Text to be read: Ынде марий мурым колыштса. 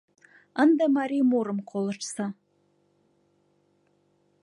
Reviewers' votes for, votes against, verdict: 2, 0, accepted